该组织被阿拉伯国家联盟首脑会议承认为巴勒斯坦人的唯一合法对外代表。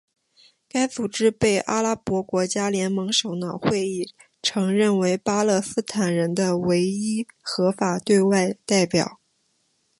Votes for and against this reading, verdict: 3, 0, accepted